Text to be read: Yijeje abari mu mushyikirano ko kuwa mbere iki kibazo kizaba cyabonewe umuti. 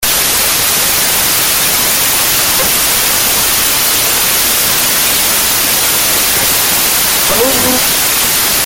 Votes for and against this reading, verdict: 0, 2, rejected